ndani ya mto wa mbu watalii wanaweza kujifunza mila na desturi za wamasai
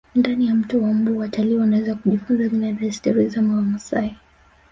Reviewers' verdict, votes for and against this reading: rejected, 1, 2